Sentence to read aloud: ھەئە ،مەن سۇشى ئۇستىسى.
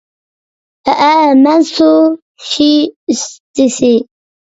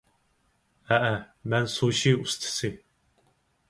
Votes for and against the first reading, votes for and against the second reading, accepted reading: 0, 2, 4, 0, second